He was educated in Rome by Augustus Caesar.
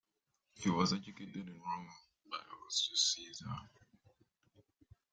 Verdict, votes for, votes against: accepted, 2, 0